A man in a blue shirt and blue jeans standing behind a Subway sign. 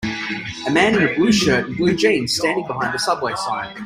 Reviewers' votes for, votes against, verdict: 2, 0, accepted